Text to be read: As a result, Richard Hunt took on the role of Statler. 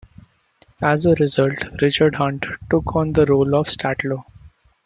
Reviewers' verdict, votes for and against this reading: accepted, 2, 1